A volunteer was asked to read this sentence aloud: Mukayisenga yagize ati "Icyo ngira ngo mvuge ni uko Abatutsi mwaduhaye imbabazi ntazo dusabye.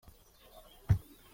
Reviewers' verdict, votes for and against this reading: rejected, 0, 2